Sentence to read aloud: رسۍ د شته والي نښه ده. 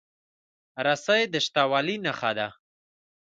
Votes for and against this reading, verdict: 2, 0, accepted